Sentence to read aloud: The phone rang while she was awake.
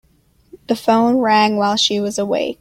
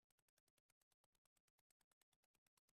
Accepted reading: first